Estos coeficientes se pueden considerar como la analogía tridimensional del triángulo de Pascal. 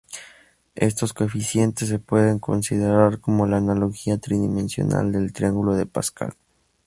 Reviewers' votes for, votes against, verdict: 2, 0, accepted